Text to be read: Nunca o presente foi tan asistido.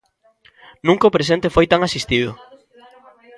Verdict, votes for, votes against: rejected, 1, 2